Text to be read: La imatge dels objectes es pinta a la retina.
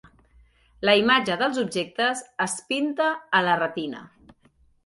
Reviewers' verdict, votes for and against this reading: accepted, 3, 0